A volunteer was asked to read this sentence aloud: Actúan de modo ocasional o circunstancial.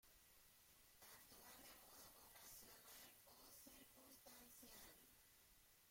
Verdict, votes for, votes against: rejected, 0, 2